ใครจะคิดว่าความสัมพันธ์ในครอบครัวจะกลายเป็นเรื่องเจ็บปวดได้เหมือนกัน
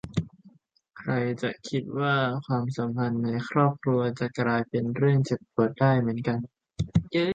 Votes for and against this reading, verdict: 0, 2, rejected